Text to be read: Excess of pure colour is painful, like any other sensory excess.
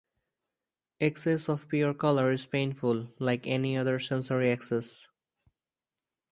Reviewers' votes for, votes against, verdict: 4, 0, accepted